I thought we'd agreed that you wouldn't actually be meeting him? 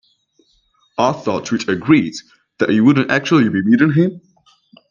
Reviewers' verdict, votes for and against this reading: rejected, 1, 2